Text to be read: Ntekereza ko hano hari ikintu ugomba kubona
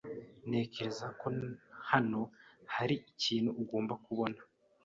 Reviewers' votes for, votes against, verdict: 2, 0, accepted